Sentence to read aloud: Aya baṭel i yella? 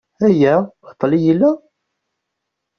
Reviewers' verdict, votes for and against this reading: rejected, 1, 2